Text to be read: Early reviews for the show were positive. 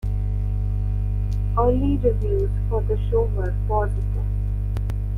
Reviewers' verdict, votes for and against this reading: rejected, 0, 2